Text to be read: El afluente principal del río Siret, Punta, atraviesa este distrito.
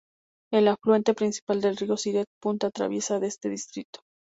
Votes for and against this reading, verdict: 0, 2, rejected